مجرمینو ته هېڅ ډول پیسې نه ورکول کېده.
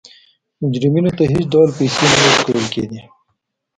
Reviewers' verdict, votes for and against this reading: accepted, 2, 1